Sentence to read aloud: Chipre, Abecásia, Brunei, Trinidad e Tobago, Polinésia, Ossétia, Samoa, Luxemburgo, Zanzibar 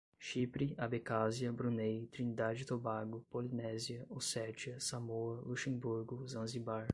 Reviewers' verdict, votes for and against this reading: rejected, 5, 5